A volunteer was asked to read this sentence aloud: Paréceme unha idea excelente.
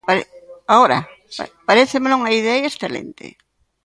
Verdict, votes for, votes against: rejected, 0, 2